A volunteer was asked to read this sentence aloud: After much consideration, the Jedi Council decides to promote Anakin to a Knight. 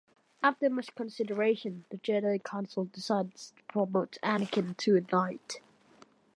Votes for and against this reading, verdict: 2, 0, accepted